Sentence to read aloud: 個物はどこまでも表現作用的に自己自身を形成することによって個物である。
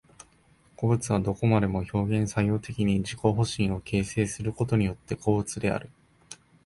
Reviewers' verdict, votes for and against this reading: rejected, 1, 2